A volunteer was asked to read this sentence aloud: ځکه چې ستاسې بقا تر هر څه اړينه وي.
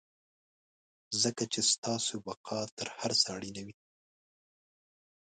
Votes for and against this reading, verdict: 1, 2, rejected